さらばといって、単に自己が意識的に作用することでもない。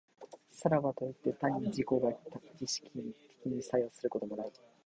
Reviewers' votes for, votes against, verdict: 1, 2, rejected